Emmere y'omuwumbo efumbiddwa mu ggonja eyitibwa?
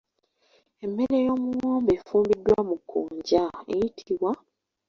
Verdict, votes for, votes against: rejected, 0, 3